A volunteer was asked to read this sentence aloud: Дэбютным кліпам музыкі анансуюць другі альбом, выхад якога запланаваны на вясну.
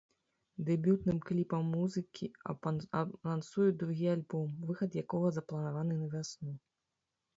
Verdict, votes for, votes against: rejected, 0, 3